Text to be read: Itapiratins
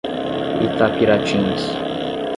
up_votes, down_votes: 10, 0